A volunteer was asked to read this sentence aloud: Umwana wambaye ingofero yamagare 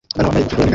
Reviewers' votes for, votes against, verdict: 0, 2, rejected